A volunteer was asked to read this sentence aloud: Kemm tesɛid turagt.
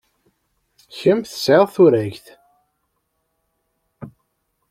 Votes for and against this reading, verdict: 2, 0, accepted